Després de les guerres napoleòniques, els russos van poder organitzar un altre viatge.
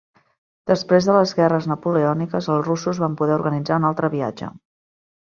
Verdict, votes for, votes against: accepted, 2, 0